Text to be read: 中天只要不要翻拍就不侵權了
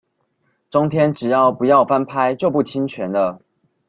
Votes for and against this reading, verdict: 2, 0, accepted